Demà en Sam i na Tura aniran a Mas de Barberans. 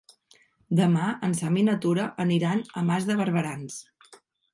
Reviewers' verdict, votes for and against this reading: accepted, 3, 0